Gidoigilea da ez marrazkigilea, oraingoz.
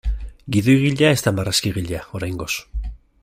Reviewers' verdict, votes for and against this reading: accepted, 2, 0